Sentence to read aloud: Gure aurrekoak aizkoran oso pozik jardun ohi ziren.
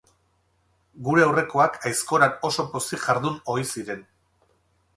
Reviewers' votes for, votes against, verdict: 2, 2, rejected